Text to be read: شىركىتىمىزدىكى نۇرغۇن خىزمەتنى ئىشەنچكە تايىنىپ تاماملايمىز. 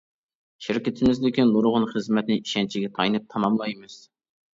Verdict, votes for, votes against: accepted, 2, 1